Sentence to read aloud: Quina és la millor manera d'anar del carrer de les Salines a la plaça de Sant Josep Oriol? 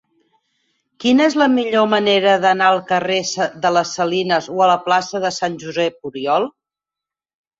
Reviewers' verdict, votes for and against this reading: rejected, 0, 4